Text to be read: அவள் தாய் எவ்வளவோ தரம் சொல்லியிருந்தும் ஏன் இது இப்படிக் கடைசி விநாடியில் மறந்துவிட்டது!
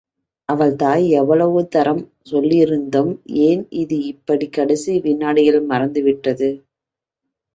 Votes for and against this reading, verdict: 2, 0, accepted